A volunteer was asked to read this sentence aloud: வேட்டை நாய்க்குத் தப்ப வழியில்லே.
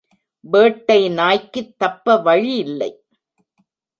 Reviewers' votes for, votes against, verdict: 0, 2, rejected